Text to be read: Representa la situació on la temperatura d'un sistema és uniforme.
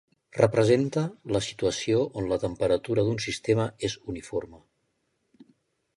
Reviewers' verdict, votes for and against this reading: accepted, 2, 0